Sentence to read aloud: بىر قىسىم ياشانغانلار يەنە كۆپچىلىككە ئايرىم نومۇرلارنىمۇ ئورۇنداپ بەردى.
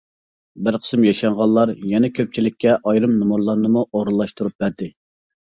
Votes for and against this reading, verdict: 0, 2, rejected